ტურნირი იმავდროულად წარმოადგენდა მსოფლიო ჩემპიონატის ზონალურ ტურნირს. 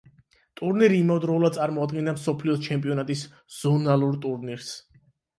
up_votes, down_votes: 8, 0